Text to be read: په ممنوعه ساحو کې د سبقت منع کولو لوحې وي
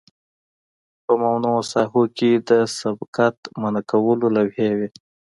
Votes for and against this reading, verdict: 2, 0, accepted